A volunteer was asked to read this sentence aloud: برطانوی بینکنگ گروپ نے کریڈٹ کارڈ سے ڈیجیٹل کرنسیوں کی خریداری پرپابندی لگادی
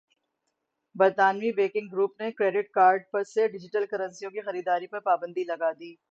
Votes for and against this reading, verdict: 0, 6, rejected